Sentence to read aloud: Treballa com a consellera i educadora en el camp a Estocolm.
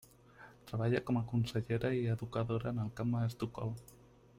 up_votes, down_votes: 3, 0